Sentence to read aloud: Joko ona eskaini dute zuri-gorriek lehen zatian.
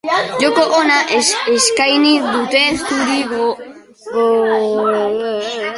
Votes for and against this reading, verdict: 0, 2, rejected